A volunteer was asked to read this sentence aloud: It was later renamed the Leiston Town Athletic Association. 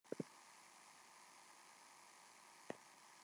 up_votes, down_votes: 0, 2